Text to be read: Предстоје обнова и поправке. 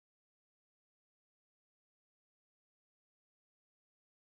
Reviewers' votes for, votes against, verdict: 1, 2, rejected